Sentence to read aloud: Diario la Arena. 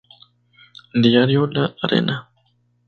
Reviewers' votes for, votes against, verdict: 2, 0, accepted